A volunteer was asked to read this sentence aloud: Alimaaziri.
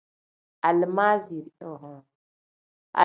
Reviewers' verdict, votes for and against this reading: rejected, 1, 2